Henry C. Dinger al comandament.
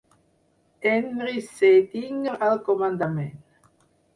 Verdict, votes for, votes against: rejected, 6, 8